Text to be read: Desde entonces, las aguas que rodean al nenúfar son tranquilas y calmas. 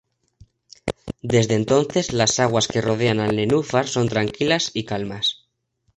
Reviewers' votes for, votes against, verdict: 1, 2, rejected